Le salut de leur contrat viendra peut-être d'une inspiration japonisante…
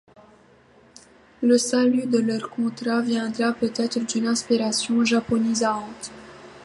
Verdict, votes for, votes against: accepted, 2, 0